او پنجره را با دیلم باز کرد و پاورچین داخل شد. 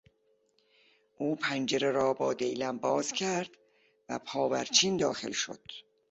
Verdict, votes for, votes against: accepted, 3, 0